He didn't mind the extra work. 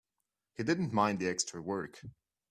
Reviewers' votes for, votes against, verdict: 3, 0, accepted